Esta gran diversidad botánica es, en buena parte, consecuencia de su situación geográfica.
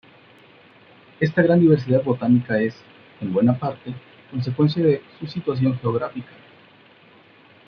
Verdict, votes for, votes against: accepted, 2, 0